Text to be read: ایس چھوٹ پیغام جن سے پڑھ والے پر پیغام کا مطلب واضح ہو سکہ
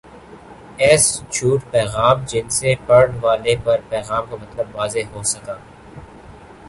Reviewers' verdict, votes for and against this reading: rejected, 1, 3